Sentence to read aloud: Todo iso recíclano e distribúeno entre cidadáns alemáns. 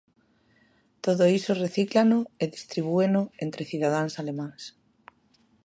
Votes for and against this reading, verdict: 2, 0, accepted